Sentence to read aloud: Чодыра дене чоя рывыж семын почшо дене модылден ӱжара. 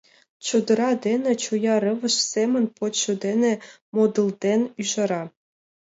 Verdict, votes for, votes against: accepted, 2, 0